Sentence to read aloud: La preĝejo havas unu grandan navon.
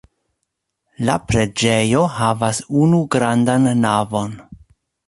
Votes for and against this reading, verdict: 2, 0, accepted